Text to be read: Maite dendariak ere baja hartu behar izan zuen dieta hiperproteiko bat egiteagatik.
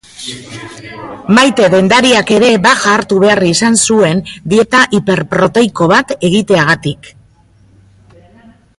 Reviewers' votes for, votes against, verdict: 3, 1, accepted